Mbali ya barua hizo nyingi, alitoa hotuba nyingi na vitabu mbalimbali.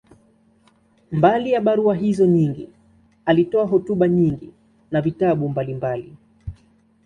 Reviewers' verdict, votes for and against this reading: accepted, 2, 0